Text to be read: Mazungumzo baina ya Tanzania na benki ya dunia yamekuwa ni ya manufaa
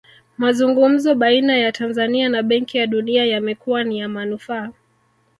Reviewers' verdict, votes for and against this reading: rejected, 1, 2